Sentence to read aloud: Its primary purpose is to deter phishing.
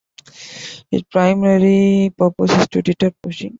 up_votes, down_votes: 0, 2